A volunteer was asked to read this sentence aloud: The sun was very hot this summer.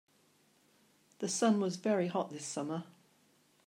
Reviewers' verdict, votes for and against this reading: accepted, 2, 1